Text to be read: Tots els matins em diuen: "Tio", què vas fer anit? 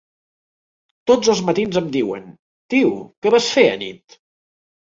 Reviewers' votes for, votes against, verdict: 3, 0, accepted